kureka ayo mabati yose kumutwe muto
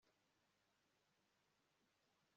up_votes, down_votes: 1, 2